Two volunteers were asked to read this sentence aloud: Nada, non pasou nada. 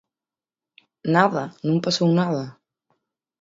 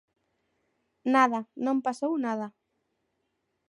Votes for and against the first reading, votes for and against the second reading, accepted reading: 2, 4, 2, 0, second